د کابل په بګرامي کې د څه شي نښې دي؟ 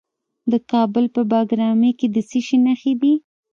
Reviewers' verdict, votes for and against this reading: accepted, 3, 0